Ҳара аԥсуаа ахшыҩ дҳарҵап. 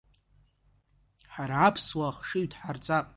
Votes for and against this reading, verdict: 2, 0, accepted